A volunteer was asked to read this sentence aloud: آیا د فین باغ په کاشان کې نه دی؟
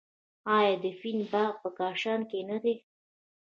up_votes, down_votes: 2, 0